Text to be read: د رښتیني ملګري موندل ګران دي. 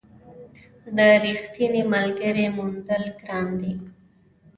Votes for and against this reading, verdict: 2, 0, accepted